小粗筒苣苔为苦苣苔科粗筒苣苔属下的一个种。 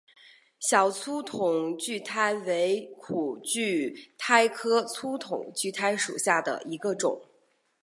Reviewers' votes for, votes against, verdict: 2, 0, accepted